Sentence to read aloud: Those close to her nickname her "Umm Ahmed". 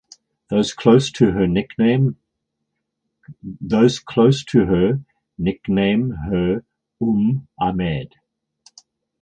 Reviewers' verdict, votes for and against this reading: rejected, 0, 4